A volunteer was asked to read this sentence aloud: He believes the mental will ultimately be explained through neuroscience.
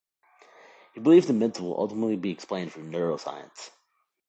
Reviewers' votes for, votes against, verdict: 1, 2, rejected